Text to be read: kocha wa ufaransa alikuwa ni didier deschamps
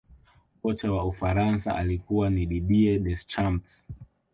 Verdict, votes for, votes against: accepted, 2, 0